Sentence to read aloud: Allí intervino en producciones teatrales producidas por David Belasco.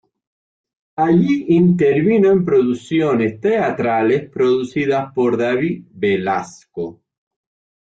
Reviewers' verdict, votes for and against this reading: accepted, 2, 0